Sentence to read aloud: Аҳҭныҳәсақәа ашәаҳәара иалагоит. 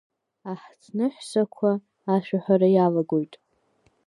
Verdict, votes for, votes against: accepted, 2, 0